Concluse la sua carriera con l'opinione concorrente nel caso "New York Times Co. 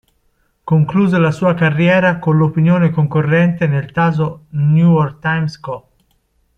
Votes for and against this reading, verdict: 0, 2, rejected